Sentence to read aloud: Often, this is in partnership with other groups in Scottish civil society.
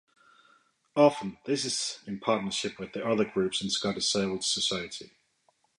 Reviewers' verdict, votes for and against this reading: accepted, 2, 0